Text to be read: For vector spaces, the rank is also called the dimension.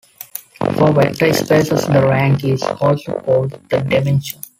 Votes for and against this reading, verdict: 0, 2, rejected